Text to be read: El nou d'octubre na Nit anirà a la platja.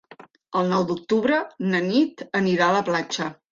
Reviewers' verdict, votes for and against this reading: accepted, 4, 0